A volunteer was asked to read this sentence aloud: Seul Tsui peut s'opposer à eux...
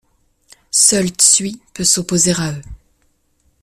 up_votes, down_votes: 2, 0